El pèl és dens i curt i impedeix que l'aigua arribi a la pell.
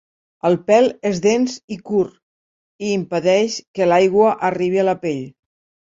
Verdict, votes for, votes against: accepted, 2, 0